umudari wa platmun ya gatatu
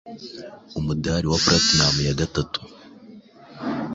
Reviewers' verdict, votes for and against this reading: accepted, 2, 0